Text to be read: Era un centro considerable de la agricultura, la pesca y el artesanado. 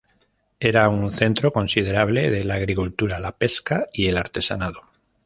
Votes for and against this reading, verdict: 2, 0, accepted